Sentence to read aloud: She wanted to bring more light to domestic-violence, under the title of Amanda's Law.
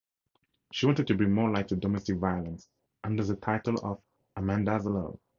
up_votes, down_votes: 2, 0